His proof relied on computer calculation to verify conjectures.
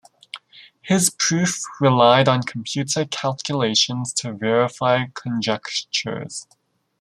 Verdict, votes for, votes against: rejected, 1, 2